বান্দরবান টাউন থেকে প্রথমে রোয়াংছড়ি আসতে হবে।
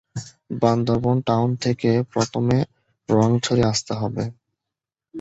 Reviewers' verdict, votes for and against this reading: rejected, 1, 2